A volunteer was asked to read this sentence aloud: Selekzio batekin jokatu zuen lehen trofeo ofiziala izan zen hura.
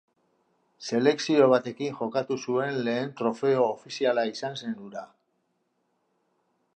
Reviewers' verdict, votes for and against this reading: accepted, 2, 0